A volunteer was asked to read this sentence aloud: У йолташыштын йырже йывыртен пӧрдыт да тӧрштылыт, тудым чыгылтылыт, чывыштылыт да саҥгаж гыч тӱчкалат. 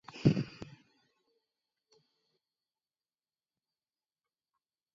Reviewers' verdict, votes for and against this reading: rejected, 0, 2